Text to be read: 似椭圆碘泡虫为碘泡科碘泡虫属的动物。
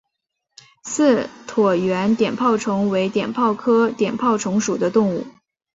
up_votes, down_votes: 4, 0